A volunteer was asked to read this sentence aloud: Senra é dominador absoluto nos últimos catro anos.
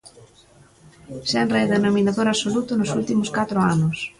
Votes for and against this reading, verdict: 1, 2, rejected